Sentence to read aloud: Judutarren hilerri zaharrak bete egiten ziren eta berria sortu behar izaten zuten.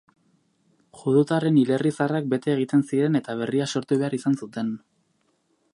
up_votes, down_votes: 4, 6